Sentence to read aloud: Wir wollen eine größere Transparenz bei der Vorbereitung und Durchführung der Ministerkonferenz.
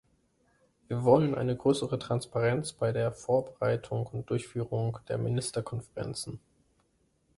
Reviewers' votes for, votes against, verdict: 0, 2, rejected